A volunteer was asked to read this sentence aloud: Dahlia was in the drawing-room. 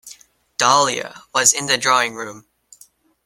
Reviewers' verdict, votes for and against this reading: accepted, 2, 0